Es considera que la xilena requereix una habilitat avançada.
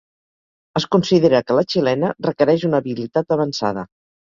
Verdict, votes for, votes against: accepted, 2, 0